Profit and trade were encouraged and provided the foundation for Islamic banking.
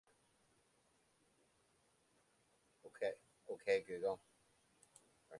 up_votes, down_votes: 0, 2